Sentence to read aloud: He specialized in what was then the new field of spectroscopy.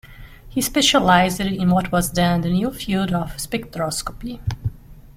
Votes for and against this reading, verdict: 0, 2, rejected